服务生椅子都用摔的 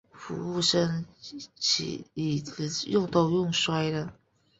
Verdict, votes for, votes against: rejected, 0, 3